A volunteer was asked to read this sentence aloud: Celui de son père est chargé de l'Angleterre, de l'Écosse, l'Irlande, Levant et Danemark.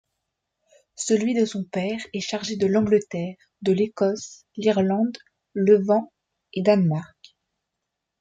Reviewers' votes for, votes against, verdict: 2, 0, accepted